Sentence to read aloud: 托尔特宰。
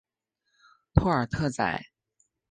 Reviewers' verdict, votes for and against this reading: accepted, 9, 0